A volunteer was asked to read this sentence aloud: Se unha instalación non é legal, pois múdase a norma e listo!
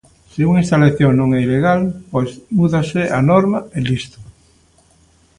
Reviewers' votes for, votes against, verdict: 0, 2, rejected